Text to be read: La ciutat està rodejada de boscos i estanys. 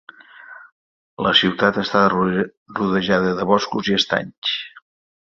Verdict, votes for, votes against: rejected, 0, 2